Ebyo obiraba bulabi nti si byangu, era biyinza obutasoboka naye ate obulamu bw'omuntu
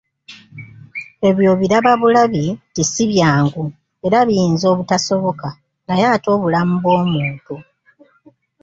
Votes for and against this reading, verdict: 1, 2, rejected